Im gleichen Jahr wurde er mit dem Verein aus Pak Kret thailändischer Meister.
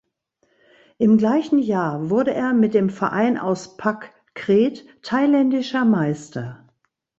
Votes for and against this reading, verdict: 2, 0, accepted